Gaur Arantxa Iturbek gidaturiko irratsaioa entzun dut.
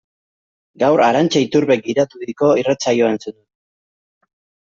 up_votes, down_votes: 0, 2